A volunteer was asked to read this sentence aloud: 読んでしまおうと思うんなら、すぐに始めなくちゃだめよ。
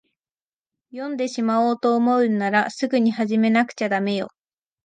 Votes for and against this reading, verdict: 2, 0, accepted